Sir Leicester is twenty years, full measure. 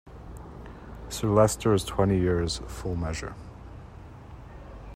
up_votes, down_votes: 2, 1